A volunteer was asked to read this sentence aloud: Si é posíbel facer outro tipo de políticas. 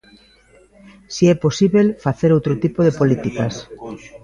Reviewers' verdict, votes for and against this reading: accepted, 2, 0